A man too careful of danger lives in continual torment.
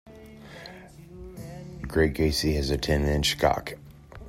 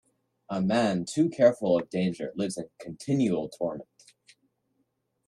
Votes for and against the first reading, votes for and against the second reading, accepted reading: 0, 2, 2, 0, second